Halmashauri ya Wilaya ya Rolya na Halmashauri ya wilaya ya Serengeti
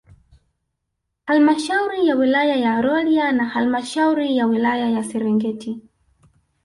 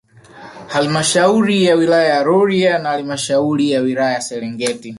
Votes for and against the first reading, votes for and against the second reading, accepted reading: 2, 1, 0, 2, first